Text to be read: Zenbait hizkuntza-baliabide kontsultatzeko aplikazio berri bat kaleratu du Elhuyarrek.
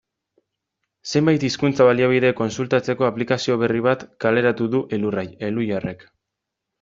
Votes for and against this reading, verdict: 1, 2, rejected